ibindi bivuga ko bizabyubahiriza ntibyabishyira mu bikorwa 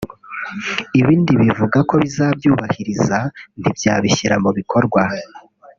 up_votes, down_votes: 1, 2